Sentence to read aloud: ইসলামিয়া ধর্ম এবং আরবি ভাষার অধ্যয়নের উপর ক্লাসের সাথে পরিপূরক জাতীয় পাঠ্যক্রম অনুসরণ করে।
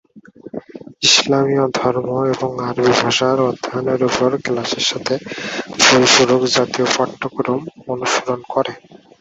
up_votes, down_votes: 2, 4